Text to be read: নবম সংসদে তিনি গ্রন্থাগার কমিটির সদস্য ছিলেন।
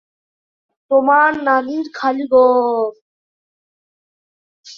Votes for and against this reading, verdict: 0, 2, rejected